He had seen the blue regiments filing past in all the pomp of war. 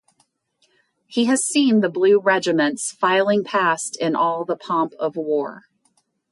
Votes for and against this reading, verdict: 0, 2, rejected